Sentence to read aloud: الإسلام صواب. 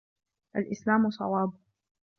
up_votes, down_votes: 2, 0